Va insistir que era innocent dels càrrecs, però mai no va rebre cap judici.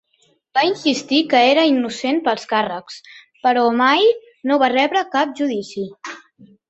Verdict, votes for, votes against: rejected, 1, 2